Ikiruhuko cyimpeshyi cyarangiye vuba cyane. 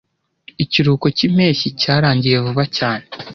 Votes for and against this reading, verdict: 2, 0, accepted